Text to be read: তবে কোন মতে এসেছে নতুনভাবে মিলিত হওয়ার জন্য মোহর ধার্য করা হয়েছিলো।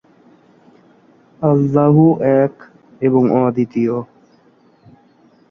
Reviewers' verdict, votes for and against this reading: rejected, 0, 2